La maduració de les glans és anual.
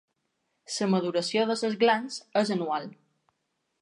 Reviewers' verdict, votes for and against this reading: rejected, 0, 2